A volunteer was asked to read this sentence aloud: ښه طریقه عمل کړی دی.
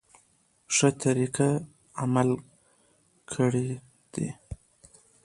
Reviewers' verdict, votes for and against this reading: rejected, 1, 2